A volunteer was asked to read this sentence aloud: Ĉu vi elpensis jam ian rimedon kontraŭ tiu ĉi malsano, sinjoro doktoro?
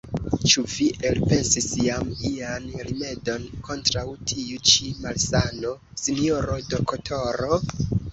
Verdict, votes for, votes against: rejected, 1, 2